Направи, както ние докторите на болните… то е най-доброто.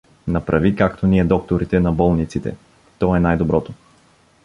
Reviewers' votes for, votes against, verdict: 0, 2, rejected